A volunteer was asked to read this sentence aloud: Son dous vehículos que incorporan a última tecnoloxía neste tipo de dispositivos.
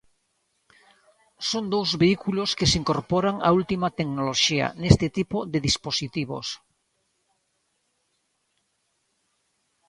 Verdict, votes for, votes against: rejected, 0, 2